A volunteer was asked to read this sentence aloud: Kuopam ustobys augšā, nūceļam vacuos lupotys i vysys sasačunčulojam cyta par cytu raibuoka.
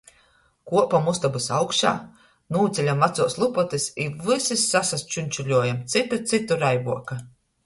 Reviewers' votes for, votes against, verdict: 1, 2, rejected